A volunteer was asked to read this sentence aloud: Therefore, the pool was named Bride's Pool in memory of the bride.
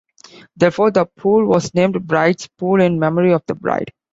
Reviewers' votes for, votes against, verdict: 2, 0, accepted